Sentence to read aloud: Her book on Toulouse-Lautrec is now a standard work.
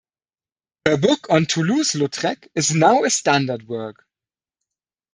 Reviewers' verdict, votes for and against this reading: rejected, 0, 2